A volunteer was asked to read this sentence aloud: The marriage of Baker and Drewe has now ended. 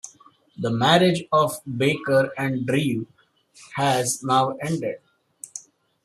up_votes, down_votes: 0, 2